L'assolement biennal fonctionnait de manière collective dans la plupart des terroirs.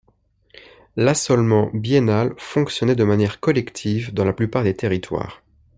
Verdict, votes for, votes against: rejected, 1, 2